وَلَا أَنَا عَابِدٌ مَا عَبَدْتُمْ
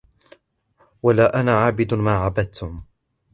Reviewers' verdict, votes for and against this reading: accepted, 2, 0